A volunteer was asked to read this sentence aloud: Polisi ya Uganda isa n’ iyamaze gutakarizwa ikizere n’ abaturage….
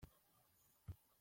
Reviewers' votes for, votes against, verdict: 0, 2, rejected